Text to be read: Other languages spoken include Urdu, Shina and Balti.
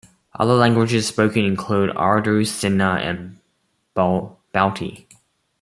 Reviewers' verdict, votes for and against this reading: rejected, 1, 2